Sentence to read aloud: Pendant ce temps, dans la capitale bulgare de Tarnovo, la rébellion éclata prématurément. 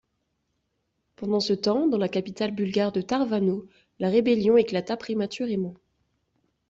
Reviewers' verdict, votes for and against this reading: rejected, 0, 2